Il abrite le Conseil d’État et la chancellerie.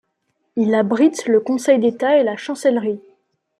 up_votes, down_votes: 2, 0